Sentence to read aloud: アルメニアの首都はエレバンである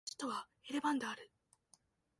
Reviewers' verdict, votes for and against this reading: rejected, 1, 2